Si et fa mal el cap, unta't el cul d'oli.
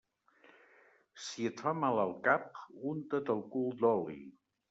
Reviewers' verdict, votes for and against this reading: rejected, 1, 2